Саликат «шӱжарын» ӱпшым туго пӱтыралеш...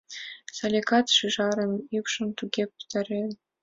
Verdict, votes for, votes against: accepted, 2, 0